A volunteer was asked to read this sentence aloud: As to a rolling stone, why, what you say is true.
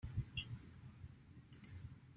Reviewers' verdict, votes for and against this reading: rejected, 0, 2